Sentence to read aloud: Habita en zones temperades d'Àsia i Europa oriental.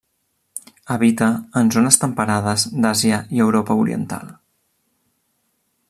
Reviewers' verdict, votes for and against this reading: accepted, 3, 0